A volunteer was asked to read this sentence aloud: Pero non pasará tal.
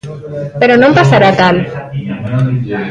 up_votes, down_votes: 2, 1